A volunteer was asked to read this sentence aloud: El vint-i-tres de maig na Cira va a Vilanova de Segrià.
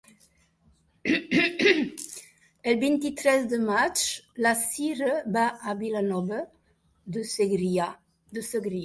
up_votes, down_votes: 1, 2